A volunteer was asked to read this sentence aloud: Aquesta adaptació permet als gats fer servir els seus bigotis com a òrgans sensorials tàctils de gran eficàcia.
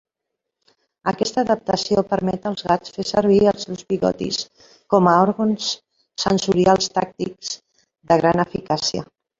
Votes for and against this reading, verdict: 0, 2, rejected